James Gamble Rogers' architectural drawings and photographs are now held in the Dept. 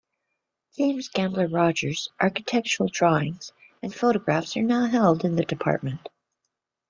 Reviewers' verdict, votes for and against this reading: accepted, 2, 0